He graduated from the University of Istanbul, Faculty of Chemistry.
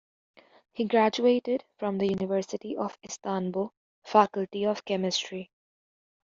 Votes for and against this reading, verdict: 2, 0, accepted